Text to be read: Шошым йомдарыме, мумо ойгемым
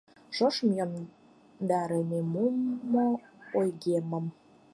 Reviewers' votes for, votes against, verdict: 0, 4, rejected